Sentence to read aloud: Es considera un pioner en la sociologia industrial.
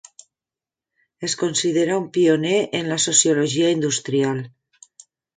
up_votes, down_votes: 3, 0